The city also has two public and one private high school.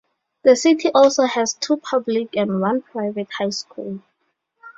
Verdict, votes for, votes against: accepted, 2, 0